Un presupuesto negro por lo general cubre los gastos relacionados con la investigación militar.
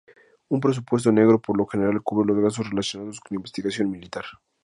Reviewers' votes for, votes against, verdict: 2, 0, accepted